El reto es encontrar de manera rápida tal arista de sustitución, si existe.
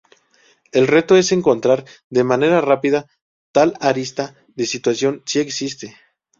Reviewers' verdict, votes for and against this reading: rejected, 0, 2